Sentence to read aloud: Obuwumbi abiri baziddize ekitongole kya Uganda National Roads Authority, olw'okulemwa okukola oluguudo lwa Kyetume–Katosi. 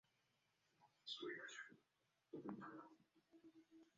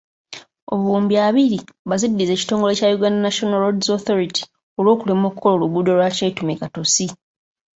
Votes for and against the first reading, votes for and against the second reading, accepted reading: 0, 2, 2, 0, second